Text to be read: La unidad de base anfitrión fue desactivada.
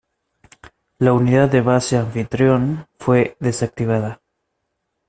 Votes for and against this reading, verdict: 2, 0, accepted